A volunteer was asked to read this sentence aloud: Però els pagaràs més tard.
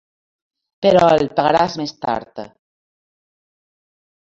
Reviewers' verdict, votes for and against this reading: rejected, 0, 2